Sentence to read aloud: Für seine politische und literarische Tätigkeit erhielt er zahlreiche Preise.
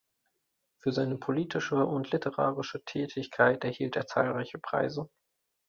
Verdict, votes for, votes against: accepted, 3, 0